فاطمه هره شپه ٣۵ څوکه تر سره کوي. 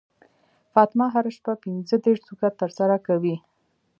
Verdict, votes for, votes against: rejected, 0, 2